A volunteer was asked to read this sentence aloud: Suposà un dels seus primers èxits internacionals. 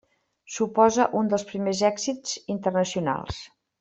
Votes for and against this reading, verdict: 0, 2, rejected